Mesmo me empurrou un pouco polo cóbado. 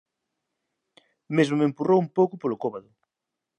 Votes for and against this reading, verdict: 2, 0, accepted